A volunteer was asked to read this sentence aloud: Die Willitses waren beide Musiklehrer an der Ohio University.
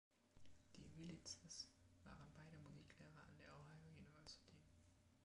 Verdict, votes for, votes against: rejected, 1, 2